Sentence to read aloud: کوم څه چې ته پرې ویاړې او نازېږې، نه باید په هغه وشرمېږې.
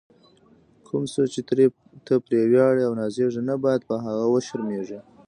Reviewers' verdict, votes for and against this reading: accepted, 2, 0